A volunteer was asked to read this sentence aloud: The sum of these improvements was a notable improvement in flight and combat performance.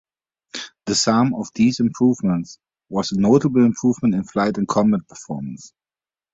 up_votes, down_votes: 2, 1